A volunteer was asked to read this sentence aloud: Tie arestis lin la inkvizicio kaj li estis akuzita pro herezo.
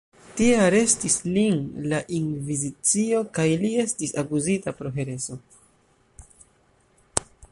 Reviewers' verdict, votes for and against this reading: rejected, 1, 2